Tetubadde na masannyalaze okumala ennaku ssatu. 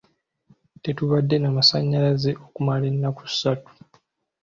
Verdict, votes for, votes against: accepted, 2, 0